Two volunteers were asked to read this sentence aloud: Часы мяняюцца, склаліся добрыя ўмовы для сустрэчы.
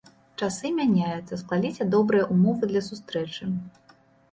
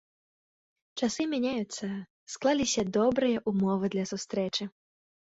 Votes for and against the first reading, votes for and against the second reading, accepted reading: 1, 2, 2, 0, second